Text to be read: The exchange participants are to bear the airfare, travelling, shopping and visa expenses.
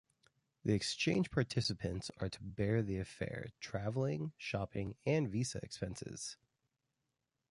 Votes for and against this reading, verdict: 1, 2, rejected